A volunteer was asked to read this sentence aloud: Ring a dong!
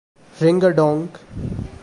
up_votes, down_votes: 1, 2